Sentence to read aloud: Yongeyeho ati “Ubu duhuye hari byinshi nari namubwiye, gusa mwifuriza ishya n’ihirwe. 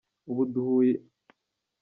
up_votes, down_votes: 0, 2